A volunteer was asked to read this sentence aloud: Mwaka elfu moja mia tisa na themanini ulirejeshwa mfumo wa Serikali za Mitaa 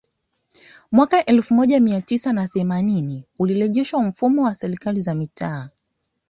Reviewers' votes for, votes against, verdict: 2, 0, accepted